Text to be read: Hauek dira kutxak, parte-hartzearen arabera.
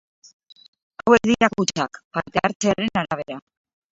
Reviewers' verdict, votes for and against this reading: rejected, 0, 2